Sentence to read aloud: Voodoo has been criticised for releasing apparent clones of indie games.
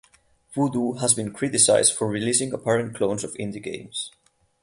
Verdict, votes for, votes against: rejected, 0, 4